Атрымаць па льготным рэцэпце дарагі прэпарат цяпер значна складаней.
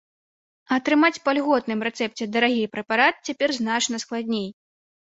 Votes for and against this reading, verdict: 1, 2, rejected